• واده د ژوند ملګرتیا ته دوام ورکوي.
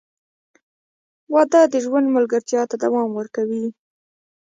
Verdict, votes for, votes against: accepted, 2, 1